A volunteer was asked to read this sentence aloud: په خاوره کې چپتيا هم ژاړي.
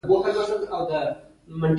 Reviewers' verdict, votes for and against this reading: rejected, 1, 2